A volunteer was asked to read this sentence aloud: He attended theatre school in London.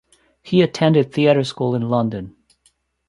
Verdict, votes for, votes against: accepted, 2, 0